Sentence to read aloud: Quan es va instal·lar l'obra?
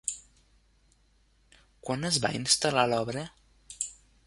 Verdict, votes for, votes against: accepted, 3, 0